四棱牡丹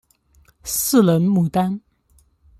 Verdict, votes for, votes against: accepted, 2, 0